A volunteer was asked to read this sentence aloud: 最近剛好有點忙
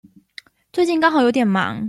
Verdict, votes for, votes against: accepted, 2, 0